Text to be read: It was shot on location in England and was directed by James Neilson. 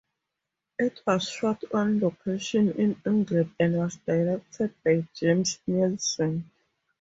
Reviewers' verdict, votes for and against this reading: accepted, 4, 2